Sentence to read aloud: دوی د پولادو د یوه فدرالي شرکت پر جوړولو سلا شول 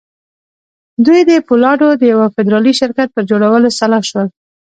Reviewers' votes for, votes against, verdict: 1, 2, rejected